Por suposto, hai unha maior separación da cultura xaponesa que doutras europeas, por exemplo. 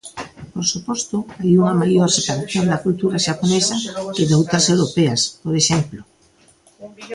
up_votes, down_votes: 0, 2